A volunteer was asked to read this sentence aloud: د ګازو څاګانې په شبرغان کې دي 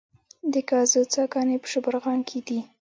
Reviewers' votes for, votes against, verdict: 2, 0, accepted